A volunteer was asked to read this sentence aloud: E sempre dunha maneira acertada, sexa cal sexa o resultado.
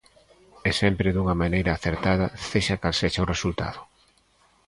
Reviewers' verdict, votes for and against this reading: accepted, 2, 0